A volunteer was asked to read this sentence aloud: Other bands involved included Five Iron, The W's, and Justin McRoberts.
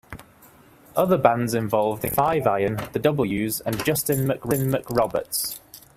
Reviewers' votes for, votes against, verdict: 0, 2, rejected